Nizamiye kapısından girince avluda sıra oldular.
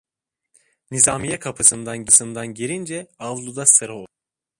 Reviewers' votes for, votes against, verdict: 0, 2, rejected